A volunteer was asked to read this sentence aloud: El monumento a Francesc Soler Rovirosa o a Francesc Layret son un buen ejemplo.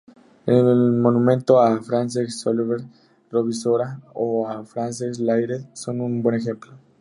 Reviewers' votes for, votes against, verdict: 0, 2, rejected